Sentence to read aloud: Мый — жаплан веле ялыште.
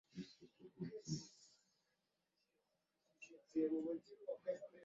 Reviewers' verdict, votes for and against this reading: rejected, 0, 2